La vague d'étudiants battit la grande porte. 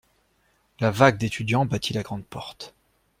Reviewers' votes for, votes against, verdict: 2, 0, accepted